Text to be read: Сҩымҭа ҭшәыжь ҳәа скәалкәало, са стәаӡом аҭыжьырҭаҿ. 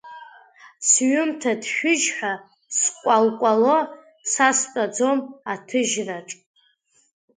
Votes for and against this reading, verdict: 0, 2, rejected